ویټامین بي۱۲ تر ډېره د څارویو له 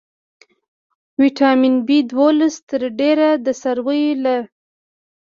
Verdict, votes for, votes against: rejected, 0, 2